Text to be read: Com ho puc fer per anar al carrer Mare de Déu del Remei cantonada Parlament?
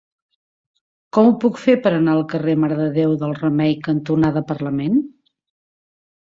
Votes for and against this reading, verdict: 5, 0, accepted